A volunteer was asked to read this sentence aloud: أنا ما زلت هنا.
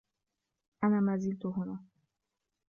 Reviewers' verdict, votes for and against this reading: rejected, 1, 2